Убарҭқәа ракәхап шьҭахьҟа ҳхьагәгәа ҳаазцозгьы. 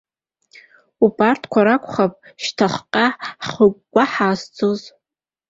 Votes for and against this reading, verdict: 0, 2, rejected